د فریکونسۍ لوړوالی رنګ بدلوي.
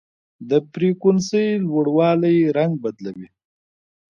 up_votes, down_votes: 1, 2